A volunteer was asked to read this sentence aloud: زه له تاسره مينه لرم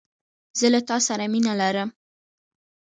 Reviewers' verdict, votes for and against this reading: accepted, 3, 0